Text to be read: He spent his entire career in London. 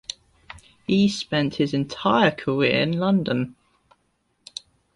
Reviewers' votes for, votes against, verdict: 2, 0, accepted